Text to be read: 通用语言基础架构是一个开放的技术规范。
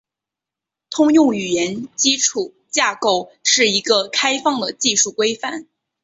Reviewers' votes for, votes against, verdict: 3, 1, accepted